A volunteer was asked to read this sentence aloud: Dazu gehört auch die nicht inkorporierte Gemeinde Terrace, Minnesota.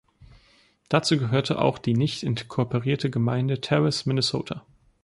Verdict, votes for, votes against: rejected, 0, 2